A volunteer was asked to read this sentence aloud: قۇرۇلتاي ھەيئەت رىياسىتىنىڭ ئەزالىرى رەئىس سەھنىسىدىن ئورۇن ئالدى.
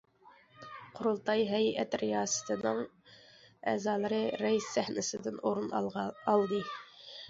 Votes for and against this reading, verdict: 0, 2, rejected